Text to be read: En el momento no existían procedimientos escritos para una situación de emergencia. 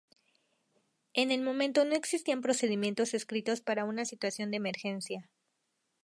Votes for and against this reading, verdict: 0, 2, rejected